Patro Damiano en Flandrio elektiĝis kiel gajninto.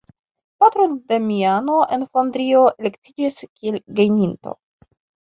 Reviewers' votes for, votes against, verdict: 1, 2, rejected